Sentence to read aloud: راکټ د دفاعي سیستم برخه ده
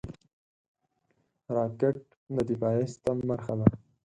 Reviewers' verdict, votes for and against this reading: accepted, 6, 2